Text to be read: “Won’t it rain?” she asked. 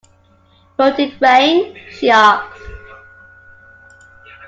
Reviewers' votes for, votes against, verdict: 2, 0, accepted